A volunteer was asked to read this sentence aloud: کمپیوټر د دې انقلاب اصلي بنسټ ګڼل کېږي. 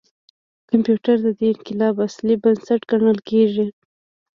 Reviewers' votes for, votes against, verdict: 1, 2, rejected